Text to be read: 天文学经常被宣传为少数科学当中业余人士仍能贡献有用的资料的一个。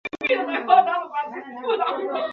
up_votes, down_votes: 2, 3